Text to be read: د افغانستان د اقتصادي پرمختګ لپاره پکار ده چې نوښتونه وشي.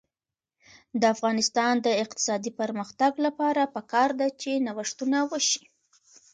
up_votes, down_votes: 2, 1